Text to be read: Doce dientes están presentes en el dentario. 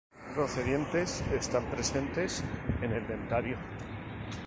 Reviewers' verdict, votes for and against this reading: accepted, 2, 0